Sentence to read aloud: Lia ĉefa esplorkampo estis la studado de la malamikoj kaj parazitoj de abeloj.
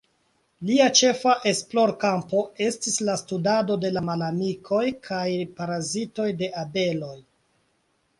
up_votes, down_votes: 4, 0